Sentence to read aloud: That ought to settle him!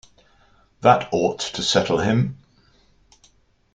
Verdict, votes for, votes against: accepted, 2, 0